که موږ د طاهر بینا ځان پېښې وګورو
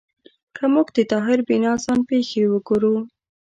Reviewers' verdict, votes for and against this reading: accepted, 2, 0